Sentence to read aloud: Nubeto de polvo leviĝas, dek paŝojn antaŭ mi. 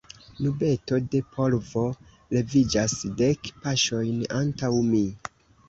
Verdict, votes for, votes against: accepted, 2, 0